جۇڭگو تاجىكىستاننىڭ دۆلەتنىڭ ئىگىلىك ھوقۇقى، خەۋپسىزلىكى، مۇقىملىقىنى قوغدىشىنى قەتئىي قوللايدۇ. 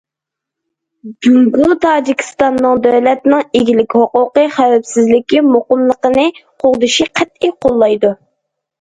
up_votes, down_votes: 1, 2